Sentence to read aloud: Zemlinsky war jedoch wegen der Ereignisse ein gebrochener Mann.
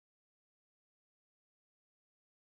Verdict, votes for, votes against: rejected, 0, 2